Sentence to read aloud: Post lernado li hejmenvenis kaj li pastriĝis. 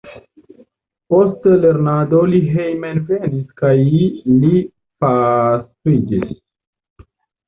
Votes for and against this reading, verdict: 0, 2, rejected